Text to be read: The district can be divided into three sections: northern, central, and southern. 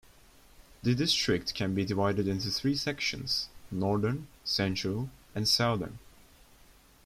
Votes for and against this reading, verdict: 2, 1, accepted